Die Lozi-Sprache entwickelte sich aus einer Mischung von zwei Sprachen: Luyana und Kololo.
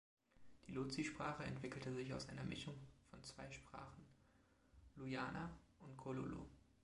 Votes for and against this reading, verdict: 2, 0, accepted